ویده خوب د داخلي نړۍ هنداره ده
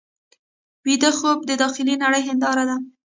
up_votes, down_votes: 0, 2